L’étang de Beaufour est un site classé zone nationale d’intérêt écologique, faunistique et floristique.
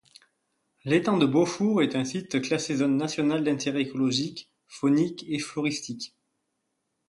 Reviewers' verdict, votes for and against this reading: rejected, 1, 2